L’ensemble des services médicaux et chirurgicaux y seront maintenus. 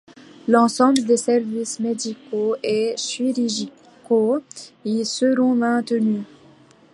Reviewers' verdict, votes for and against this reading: accepted, 2, 1